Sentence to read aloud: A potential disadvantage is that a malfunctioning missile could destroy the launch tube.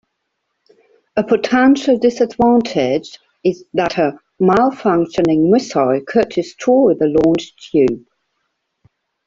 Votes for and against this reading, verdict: 1, 2, rejected